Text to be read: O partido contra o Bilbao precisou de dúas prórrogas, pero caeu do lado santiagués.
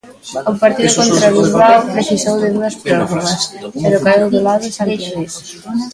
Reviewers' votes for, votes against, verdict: 2, 0, accepted